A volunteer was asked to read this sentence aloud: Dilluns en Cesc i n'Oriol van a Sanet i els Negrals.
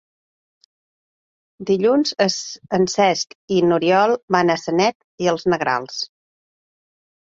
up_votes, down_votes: 0, 2